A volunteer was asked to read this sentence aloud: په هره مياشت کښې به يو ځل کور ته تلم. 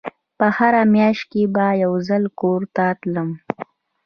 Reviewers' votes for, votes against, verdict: 0, 2, rejected